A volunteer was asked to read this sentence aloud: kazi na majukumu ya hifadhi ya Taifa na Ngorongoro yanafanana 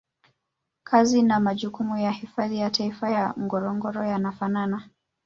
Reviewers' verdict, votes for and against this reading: rejected, 0, 2